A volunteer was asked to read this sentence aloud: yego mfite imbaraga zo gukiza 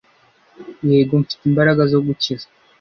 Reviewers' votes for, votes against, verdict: 2, 0, accepted